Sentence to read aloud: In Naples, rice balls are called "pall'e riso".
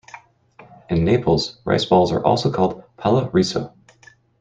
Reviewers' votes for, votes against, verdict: 1, 2, rejected